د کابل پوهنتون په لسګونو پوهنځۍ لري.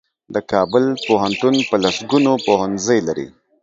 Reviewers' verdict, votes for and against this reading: accepted, 2, 0